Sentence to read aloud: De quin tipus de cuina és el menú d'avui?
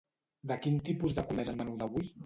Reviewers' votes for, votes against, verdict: 0, 2, rejected